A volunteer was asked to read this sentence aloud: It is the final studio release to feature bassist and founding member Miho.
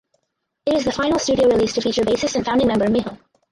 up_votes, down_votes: 2, 4